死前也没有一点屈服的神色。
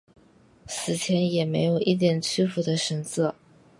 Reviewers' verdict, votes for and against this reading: accepted, 4, 0